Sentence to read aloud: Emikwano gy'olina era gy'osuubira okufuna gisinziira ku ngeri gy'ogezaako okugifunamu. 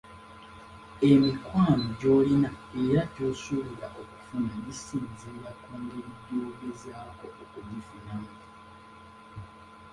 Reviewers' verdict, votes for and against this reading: rejected, 0, 2